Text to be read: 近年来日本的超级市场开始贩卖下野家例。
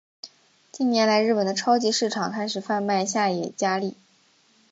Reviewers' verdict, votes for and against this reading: accepted, 2, 0